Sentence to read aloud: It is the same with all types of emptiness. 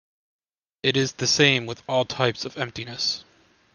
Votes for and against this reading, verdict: 2, 0, accepted